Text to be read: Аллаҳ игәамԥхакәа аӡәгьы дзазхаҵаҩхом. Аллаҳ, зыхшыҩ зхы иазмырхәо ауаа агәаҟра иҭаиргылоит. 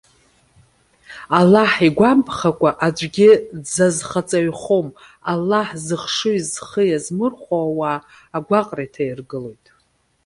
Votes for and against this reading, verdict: 2, 0, accepted